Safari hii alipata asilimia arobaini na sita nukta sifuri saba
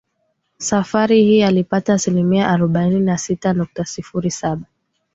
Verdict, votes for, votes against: rejected, 0, 2